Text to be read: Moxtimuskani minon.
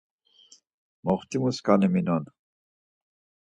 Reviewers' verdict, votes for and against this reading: accepted, 4, 0